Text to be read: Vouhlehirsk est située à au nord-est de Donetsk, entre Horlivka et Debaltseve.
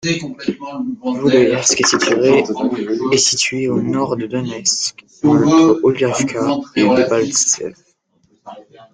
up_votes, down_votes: 0, 3